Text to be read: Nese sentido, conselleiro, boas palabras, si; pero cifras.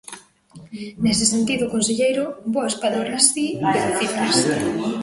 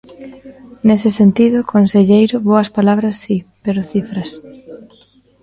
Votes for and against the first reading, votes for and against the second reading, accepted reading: 0, 2, 2, 0, second